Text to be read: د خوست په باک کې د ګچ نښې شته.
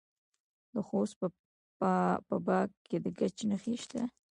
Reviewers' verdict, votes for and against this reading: accepted, 2, 0